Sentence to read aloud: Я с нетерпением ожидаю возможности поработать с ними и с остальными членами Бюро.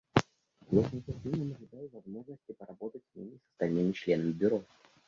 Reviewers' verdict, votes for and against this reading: rejected, 0, 2